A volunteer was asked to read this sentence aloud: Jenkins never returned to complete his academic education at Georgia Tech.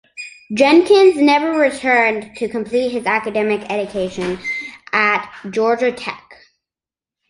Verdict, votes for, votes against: accepted, 2, 0